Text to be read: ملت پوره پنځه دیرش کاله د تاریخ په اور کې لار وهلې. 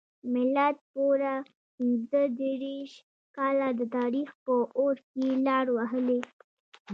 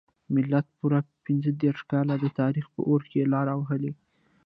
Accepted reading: first